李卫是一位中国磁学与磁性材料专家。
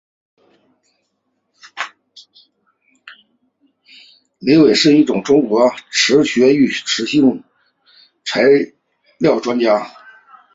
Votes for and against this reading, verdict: 1, 2, rejected